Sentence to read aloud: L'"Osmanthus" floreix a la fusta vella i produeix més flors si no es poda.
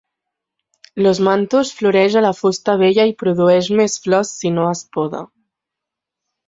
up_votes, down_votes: 3, 0